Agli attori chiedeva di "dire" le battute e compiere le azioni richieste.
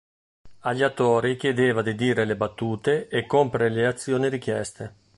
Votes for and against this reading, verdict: 0, 2, rejected